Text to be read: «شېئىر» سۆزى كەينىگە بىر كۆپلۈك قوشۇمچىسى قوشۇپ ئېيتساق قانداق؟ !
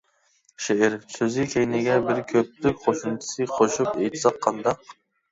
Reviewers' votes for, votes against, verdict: 1, 2, rejected